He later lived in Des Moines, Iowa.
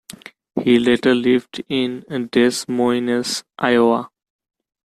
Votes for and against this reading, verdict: 1, 2, rejected